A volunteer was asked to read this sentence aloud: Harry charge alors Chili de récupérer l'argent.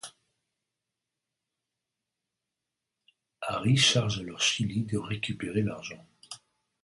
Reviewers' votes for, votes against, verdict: 1, 2, rejected